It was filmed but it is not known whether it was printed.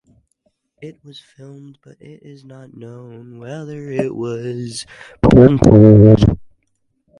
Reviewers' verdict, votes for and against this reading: rejected, 2, 2